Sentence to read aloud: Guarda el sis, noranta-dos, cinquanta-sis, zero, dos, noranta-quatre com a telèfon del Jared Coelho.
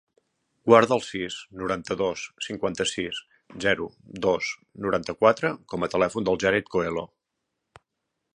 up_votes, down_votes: 2, 0